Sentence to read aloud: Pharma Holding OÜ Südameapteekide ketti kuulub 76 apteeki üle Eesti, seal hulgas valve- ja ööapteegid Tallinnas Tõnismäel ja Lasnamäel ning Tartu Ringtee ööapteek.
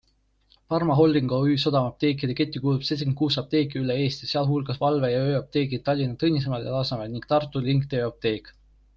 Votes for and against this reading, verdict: 0, 2, rejected